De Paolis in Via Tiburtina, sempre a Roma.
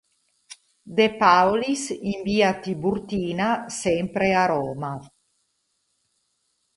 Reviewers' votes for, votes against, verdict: 4, 0, accepted